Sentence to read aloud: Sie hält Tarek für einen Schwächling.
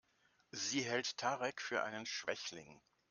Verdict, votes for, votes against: accepted, 3, 0